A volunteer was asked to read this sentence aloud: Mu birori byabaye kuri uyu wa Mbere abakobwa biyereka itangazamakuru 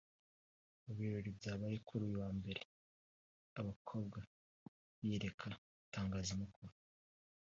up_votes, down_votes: 2, 1